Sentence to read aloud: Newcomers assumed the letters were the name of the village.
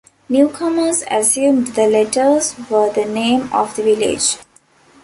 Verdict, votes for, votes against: accepted, 2, 1